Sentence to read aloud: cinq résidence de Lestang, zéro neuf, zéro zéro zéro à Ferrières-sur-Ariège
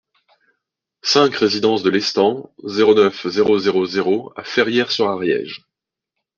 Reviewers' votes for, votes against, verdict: 2, 0, accepted